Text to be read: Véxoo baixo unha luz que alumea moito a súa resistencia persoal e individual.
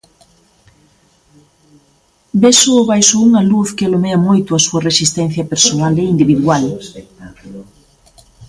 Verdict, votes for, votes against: rejected, 0, 2